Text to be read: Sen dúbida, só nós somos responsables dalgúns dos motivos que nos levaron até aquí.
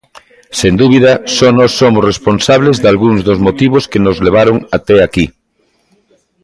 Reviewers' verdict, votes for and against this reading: accepted, 2, 0